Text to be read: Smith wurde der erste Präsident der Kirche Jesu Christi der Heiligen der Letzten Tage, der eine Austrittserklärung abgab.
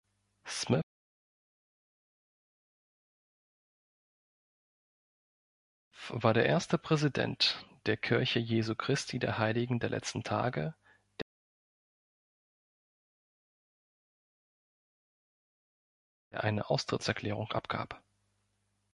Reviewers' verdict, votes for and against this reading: rejected, 0, 2